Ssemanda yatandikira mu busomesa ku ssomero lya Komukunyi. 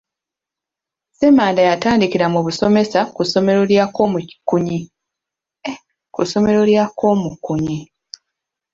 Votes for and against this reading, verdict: 0, 2, rejected